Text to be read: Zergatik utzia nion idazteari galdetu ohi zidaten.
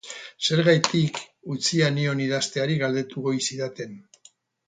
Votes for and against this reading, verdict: 0, 2, rejected